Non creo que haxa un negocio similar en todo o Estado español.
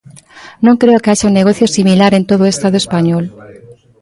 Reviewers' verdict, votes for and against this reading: rejected, 0, 2